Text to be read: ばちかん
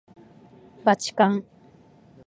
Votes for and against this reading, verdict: 2, 0, accepted